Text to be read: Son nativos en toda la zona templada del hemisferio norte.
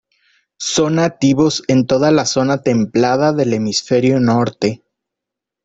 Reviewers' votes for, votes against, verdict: 2, 0, accepted